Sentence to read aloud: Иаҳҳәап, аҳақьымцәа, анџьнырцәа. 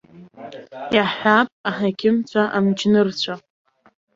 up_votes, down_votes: 1, 2